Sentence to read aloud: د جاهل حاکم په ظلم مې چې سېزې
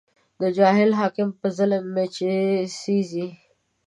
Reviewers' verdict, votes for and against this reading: accepted, 2, 0